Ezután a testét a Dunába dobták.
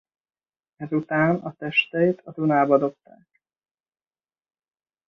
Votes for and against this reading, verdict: 1, 2, rejected